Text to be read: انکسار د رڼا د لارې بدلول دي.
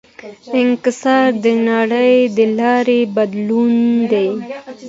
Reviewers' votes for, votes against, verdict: 2, 0, accepted